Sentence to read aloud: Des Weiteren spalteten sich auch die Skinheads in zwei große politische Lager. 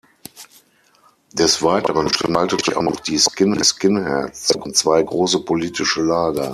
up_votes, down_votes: 0, 6